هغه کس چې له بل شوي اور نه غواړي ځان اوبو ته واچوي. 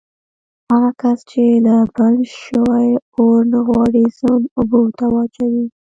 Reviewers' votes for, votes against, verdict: 1, 2, rejected